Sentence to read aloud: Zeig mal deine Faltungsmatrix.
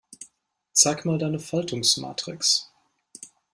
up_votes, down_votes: 2, 0